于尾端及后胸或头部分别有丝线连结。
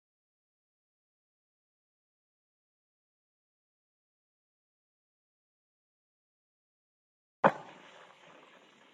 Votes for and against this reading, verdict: 0, 2, rejected